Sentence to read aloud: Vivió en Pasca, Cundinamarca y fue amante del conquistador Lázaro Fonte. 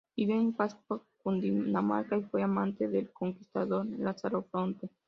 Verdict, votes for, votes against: rejected, 0, 2